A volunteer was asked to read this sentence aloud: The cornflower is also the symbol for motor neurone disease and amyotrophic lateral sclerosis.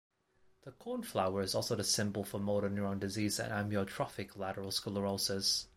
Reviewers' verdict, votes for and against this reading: rejected, 0, 2